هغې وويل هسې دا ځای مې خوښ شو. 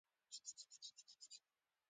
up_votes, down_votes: 2, 1